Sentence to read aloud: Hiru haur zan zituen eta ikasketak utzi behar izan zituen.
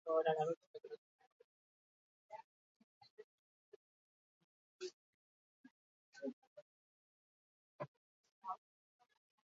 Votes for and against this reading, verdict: 0, 4, rejected